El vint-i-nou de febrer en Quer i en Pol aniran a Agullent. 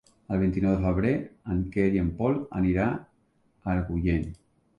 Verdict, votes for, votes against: rejected, 0, 2